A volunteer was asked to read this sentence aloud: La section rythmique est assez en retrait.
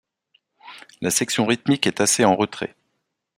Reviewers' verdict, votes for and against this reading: accepted, 2, 0